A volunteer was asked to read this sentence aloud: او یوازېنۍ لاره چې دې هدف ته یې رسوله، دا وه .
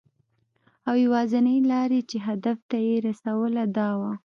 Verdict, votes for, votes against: accepted, 3, 0